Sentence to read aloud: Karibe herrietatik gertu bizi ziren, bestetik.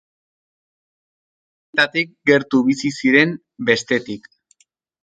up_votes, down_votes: 0, 2